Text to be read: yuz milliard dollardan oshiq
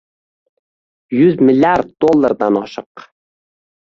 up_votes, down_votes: 0, 2